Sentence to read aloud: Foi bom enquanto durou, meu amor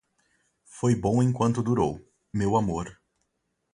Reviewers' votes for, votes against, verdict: 2, 2, rejected